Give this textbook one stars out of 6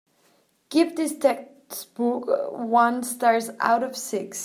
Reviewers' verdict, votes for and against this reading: rejected, 0, 2